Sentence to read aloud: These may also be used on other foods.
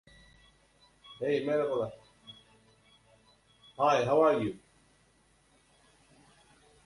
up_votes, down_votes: 0, 2